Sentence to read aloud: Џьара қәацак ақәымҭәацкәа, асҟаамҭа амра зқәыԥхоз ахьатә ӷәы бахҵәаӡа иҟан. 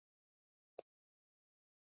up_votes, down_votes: 0, 3